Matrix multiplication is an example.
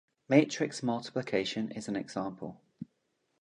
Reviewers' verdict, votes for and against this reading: accepted, 2, 0